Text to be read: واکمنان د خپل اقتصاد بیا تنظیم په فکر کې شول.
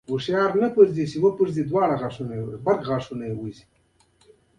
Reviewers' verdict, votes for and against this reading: accepted, 2, 0